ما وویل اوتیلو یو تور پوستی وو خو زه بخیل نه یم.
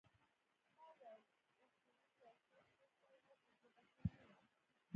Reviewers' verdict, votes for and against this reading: rejected, 0, 2